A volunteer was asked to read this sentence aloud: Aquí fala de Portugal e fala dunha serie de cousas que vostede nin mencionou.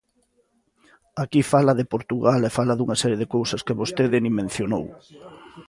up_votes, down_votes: 2, 0